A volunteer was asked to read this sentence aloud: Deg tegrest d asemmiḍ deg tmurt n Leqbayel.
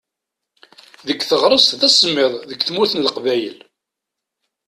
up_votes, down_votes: 1, 2